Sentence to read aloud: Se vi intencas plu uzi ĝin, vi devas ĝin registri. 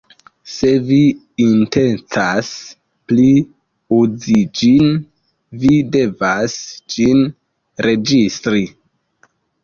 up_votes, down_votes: 0, 2